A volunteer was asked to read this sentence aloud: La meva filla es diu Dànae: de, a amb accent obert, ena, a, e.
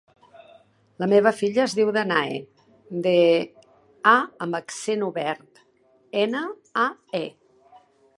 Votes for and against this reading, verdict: 0, 2, rejected